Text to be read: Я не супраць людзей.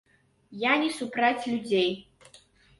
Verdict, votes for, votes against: rejected, 0, 2